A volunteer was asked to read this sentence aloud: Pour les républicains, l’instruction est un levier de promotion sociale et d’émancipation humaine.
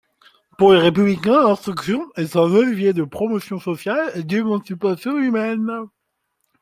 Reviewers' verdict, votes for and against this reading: rejected, 1, 2